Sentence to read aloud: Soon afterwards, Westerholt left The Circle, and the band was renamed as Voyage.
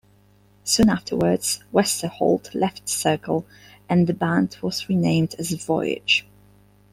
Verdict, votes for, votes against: rejected, 1, 2